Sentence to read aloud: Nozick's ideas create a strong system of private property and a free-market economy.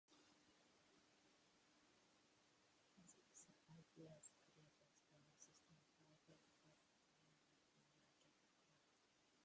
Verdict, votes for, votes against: rejected, 0, 2